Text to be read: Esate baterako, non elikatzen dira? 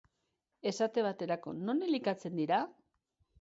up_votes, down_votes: 2, 0